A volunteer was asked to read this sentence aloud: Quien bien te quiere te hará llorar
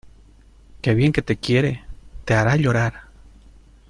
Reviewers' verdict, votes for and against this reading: rejected, 0, 2